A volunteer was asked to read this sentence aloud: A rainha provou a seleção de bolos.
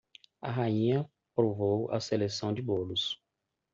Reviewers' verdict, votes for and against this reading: accepted, 2, 0